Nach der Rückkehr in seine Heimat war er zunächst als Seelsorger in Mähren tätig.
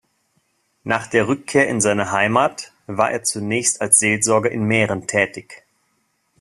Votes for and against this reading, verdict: 2, 0, accepted